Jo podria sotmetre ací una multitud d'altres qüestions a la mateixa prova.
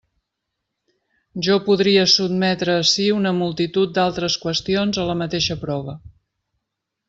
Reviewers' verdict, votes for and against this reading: accepted, 3, 1